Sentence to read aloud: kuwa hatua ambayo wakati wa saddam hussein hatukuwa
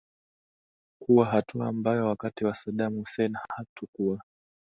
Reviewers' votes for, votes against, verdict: 3, 0, accepted